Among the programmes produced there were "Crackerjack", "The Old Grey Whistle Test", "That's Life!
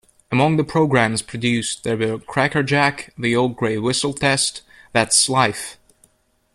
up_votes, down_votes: 2, 0